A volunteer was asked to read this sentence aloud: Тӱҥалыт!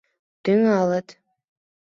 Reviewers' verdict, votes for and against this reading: accepted, 2, 0